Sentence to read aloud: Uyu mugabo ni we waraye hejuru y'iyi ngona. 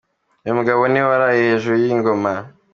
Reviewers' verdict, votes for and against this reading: accepted, 2, 1